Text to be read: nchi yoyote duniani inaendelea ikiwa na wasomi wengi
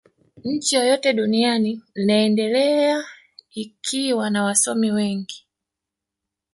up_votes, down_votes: 1, 2